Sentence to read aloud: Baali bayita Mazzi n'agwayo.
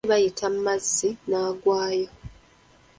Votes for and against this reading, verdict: 0, 2, rejected